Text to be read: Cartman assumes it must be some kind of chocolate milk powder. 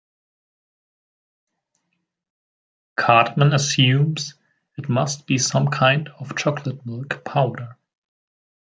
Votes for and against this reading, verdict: 1, 2, rejected